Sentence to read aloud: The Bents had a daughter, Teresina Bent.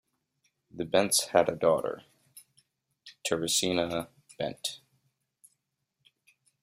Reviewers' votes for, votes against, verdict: 0, 2, rejected